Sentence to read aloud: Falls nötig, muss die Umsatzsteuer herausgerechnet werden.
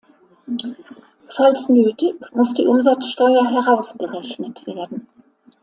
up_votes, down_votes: 2, 1